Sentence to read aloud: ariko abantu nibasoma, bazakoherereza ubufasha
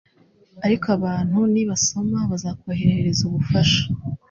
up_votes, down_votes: 2, 0